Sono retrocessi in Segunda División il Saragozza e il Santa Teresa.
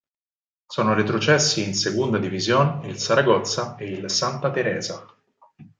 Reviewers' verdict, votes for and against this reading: accepted, 4, 0